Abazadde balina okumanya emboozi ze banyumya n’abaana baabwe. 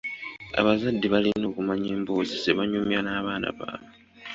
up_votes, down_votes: 0, 2